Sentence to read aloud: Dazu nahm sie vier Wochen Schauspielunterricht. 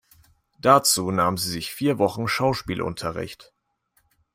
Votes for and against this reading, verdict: 1, 2, rejected